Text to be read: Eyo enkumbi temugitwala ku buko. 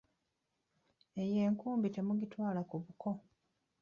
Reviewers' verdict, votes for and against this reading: rejected, 1, 2